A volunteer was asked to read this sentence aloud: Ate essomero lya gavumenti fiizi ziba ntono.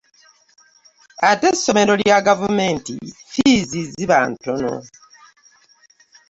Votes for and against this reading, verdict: 2, 0, accepted